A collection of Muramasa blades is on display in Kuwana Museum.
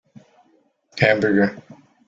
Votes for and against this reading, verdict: 0, 2, rejected